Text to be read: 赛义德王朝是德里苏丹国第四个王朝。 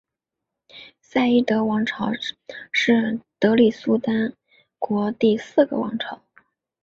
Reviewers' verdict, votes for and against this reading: rejected, 1, 2